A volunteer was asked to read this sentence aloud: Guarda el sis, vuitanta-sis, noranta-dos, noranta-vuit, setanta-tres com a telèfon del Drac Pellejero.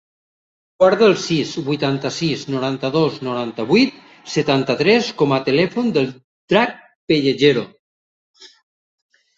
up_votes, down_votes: 3, 0